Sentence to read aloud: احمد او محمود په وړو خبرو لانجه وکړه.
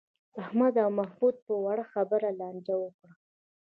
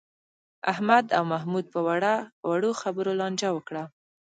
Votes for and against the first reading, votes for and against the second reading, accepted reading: 0, 2, 2, 1, second